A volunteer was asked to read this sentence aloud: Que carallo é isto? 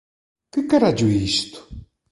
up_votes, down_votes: 2, 0